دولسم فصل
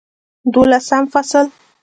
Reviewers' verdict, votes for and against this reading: accepted, 2, 1